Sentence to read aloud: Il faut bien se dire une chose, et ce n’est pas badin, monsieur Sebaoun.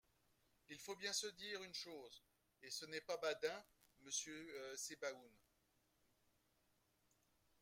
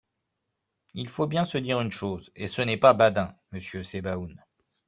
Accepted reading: second